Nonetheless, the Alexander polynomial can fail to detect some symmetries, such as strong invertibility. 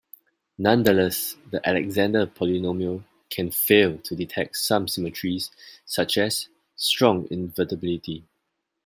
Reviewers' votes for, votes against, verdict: 2, 0, accepted